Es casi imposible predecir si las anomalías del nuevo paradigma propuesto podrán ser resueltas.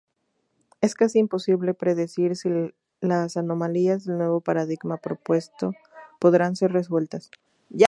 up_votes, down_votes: 0, 2